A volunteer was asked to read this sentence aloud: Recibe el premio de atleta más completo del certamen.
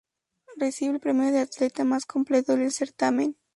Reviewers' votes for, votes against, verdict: 4, 0, accepted